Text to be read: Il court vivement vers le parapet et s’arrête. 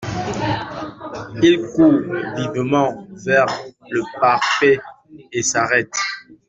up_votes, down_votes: 0, 2